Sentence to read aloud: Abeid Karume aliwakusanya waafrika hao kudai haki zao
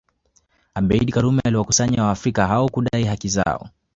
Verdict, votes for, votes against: rejected, 1, 2